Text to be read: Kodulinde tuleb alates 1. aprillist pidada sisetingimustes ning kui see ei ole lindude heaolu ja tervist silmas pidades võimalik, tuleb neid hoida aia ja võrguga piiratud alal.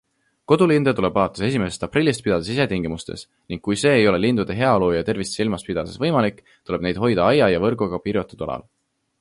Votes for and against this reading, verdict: 0, 2, rejected